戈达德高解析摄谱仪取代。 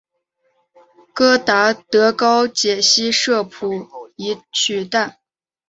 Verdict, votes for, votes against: accepted, 2, 0